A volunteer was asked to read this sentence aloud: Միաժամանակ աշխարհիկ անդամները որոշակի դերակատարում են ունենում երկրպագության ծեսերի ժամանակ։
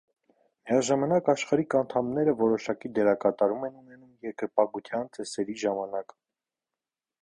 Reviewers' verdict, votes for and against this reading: rejected, 0, 2